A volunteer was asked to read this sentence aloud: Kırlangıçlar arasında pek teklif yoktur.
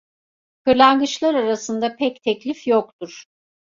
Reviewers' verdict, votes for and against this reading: accepted, 2, 0